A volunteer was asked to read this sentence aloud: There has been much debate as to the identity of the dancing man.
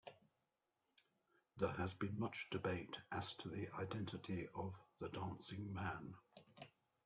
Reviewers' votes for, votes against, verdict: 2, 0, accepted